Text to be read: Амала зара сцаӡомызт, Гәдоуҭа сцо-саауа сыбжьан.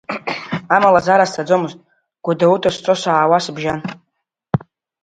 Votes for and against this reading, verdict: 3, 1, accepted